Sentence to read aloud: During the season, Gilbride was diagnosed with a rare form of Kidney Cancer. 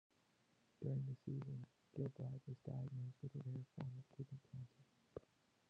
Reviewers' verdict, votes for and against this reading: accepted, 2, 0